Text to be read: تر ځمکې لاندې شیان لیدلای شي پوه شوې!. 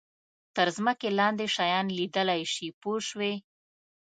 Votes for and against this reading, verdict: 2, 0, accepted